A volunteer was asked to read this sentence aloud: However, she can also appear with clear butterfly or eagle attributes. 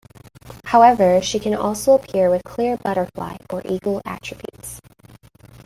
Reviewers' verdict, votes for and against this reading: accepted, 2, 1